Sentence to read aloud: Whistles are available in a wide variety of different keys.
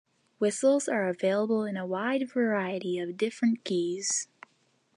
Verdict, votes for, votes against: accepted, 2, 0